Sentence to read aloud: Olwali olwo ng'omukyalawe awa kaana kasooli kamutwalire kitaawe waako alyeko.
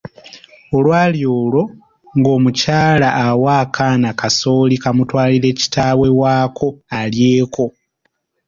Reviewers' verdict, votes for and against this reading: rejected, 1, 3